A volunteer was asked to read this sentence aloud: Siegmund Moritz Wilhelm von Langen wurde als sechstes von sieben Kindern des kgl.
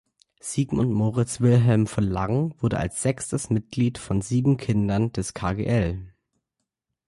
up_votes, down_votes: 1, 2